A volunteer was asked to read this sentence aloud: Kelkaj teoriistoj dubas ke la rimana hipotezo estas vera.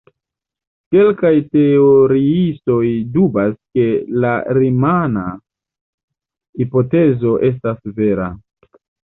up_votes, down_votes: 2, 0